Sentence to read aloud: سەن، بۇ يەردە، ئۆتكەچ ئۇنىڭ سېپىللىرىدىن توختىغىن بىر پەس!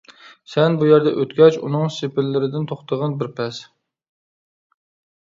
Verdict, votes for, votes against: accepted, 2, 0